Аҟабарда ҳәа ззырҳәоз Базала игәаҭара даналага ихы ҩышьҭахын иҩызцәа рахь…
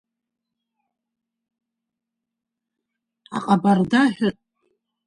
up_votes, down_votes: 0, 2